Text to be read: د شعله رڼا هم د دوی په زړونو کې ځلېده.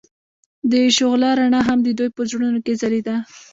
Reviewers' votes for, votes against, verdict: 0, 2, rejected